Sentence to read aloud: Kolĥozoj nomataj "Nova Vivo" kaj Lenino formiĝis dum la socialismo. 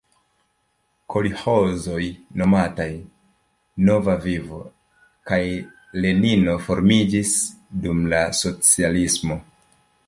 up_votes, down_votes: 3, 0